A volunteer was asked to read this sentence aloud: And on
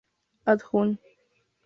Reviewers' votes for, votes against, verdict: 2, 0, accepted